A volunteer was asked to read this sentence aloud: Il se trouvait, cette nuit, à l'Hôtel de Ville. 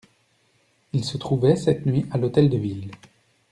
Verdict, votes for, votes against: accepted, 2, 0